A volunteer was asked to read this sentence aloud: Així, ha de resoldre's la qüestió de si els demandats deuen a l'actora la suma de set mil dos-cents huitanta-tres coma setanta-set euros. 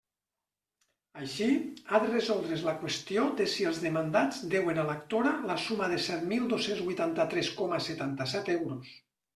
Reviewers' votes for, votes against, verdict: 2, 0, accepted